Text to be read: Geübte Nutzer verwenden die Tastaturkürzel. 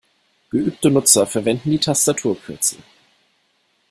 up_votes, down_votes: 2, 0